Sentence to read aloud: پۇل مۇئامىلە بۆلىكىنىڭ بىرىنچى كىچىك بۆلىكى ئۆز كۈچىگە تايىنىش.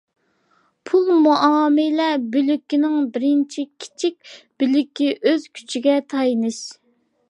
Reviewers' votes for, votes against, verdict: 2, 0, accepted